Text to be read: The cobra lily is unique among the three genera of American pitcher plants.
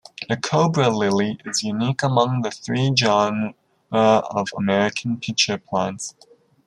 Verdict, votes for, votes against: rejected, 0, 2